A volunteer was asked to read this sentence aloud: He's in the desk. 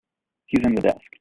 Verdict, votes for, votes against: rejected, 1, 2